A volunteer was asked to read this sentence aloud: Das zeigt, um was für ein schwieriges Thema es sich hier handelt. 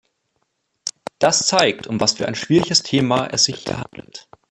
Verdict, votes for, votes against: rejected, 1, 3